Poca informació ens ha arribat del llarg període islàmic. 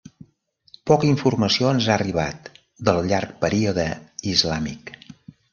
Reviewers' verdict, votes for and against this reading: accepted, 3, 0